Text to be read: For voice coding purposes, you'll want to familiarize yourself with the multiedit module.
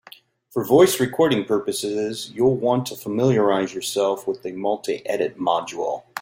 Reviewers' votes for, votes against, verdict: 0, 2, rejected